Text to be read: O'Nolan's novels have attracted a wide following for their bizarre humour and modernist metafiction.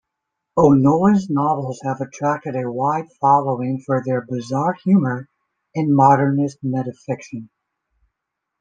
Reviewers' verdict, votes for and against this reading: accepted, 2, 1